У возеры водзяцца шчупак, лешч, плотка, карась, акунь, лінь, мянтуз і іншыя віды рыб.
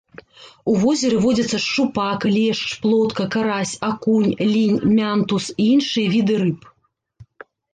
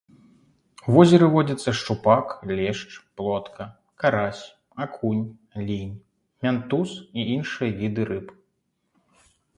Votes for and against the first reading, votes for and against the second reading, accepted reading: 1, 2, 2, 0, second